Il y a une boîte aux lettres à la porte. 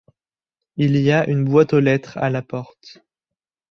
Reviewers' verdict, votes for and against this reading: accepted, 2, 0